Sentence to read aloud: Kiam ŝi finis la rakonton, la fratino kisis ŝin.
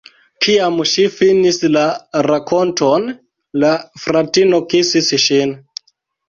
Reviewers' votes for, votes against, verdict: 0, 2, rejected